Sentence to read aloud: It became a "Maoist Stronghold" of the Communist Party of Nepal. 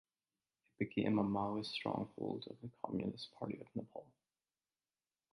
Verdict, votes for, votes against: rejected, 1, 2